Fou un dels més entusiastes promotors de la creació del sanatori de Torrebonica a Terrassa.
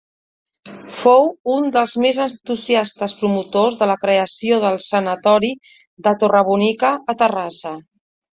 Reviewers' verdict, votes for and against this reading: accepted, 2, 0